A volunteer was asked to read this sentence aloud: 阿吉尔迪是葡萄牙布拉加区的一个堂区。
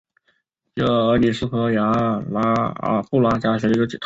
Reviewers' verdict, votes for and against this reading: rejected, 0, 2